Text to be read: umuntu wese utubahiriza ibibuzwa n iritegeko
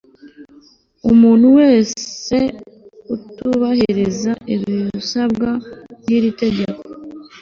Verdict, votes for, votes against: rejected, 0, 2